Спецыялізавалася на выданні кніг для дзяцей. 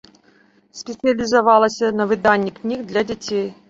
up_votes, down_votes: 1, 2